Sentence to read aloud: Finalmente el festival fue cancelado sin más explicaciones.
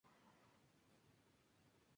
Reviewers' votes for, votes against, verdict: 0, 2, rejected